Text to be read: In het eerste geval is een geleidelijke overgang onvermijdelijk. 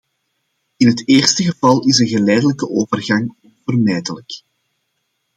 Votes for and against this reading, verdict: 2, 0, accepted